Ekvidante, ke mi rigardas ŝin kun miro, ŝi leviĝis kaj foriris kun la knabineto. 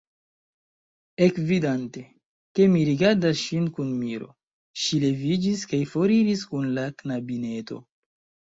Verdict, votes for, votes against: accepted, 3, 0